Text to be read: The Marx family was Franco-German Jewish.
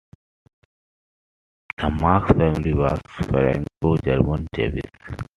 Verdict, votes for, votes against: rejected, 1, 2